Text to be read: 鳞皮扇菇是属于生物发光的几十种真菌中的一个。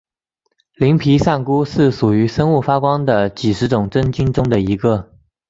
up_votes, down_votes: 2, 0